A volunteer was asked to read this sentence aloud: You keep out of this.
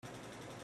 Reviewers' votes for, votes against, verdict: 0, 3, rejected